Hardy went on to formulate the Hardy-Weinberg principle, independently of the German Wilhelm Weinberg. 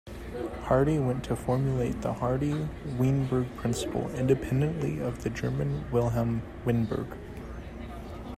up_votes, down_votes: 1, 2